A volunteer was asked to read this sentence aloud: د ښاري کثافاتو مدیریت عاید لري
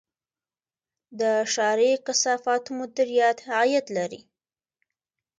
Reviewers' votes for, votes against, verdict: 2, 0, accepted